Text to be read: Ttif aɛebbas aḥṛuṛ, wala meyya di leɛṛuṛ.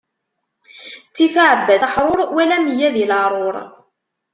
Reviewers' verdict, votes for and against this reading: rejected, 1, 2